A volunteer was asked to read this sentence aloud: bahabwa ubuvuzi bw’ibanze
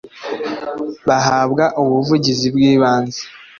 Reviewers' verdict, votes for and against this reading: accepted, 2, 0